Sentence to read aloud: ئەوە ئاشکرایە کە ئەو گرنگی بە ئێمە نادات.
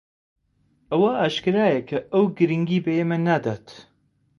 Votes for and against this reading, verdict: 2, 0, accepted